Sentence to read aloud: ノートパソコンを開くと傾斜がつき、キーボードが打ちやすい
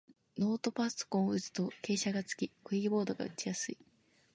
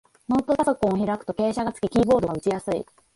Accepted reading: first